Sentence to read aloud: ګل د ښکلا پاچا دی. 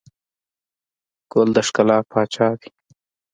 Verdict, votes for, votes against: accepted, 2, 0